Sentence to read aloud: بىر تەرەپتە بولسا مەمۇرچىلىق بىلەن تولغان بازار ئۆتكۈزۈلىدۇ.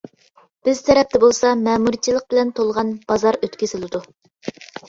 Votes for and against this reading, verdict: 2, 0, accepted